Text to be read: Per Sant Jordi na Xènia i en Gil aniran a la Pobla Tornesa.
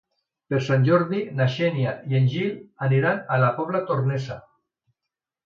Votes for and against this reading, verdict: 2, 1, accepted